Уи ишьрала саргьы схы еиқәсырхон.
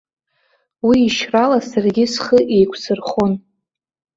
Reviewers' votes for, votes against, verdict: 2, 0, accepted